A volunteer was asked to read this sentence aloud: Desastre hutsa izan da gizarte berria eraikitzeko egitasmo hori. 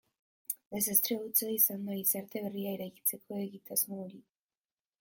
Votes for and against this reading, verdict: 2, 0, accepted